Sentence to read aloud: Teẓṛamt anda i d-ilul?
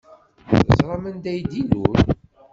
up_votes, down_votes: 1, 2